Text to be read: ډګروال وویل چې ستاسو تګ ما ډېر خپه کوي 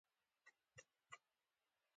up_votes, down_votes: 2, 1